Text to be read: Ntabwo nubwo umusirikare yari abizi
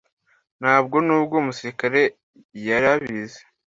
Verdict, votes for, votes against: accepted, 2, 0